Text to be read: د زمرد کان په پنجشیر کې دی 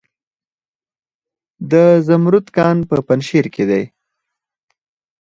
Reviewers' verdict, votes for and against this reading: accepted, 4, 0